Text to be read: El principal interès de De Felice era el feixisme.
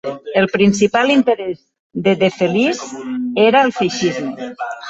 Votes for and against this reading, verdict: 0, 2, rejected